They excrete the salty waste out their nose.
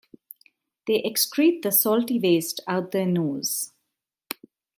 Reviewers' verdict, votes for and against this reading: accepted, 2, 0